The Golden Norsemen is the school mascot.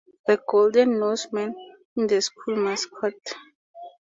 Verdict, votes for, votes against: rejected, 2, 2